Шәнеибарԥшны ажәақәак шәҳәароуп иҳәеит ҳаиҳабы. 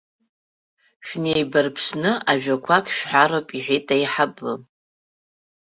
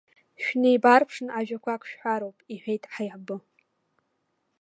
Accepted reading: second